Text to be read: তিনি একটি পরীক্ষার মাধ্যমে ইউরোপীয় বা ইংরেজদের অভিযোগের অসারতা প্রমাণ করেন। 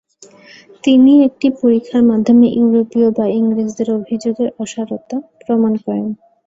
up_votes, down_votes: 2, 0